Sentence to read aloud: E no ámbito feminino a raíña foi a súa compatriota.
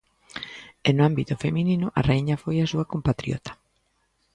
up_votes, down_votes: 2, 0